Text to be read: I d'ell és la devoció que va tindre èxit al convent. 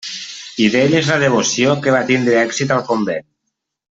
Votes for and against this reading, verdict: 0, 2, rejected